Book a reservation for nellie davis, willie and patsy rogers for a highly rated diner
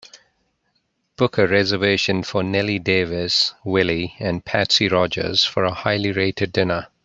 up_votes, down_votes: 3, 0